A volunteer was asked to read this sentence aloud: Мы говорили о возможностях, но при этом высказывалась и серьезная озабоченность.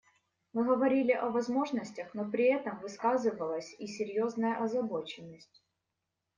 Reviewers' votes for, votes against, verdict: 2, 0, accepted